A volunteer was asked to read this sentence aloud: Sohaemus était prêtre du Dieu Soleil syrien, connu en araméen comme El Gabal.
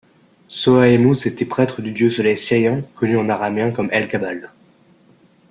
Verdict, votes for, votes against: rejected, 1, 2